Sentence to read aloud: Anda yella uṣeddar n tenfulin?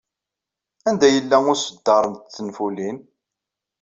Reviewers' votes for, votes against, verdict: 2, 0, accepted